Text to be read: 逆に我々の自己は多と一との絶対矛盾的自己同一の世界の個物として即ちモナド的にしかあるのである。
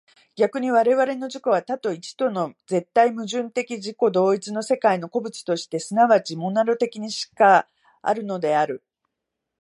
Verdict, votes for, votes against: rejected, 1, 2